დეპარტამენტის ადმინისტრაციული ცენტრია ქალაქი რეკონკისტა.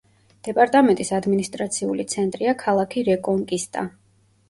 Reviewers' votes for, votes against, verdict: 2, 0, accepted